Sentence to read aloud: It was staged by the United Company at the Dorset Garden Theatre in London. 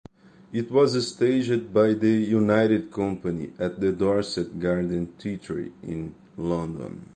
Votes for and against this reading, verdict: 0, 2, rejected